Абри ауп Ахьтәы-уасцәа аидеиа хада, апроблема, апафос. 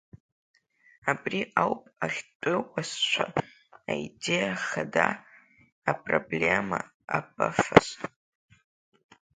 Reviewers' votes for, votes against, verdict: 1, 2, rejected